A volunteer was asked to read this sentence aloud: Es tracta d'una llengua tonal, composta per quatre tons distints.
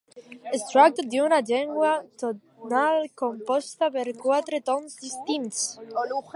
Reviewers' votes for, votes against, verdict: 0, 2, rejected